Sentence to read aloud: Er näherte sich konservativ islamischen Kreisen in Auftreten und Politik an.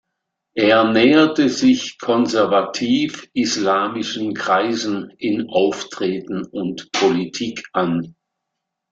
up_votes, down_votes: 2, 0